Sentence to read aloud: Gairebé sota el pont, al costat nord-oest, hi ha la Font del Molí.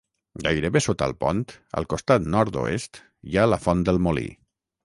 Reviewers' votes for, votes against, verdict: 6, 0, accepted